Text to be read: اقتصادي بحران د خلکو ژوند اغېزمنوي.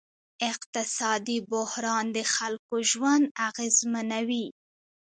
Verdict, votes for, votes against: rejected, 0, 2